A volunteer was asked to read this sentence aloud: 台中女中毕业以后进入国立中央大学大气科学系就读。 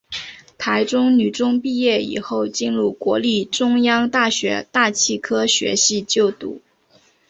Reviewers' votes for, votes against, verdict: 5, 1, accepted